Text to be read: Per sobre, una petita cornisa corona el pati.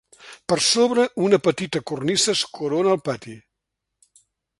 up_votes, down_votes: 1, 2